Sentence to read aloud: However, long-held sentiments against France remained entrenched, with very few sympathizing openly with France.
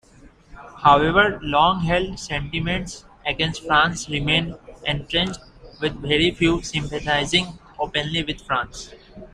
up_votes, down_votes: 1, 2